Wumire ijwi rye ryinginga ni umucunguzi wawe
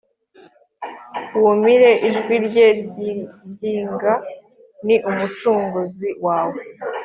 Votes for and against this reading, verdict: 2, 0, accepted